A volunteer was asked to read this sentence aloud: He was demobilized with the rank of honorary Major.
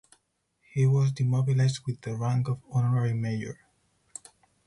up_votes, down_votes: 2, 2